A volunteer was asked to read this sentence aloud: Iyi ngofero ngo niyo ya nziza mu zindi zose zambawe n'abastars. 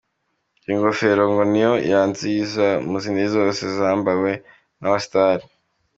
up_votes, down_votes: 2, 0